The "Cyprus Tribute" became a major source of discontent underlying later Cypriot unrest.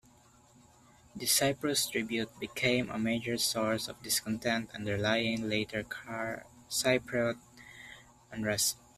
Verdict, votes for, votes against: rejected, 0, 2